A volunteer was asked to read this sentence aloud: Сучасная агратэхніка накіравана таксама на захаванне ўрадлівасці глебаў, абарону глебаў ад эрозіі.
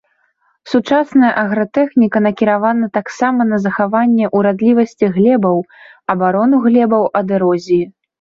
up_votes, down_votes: 1, 2